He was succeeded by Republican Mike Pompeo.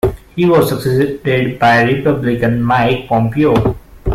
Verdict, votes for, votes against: rejected, 0, 2